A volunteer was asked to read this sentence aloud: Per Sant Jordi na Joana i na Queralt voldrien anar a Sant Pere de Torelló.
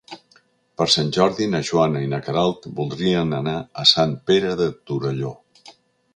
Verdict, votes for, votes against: accepted, 4, 0